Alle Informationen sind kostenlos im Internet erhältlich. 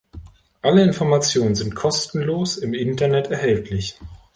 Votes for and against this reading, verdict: 3, 0, accepted